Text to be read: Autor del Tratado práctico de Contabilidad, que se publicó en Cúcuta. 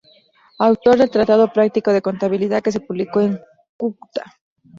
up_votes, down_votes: 0, 2